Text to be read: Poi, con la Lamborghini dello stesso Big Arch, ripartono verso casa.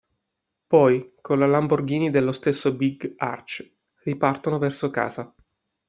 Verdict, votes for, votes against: accepted, 2, 0